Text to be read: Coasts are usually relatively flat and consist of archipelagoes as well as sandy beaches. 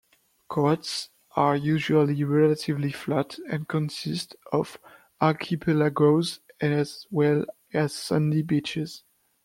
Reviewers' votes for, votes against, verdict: 0, 2, rejected